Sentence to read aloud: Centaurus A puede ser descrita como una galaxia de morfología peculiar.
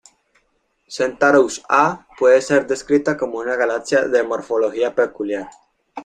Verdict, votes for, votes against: rejected, 1, 2